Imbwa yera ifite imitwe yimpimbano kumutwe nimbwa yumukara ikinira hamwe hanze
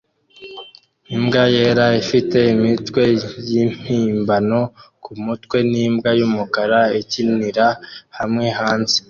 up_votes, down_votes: 2, 0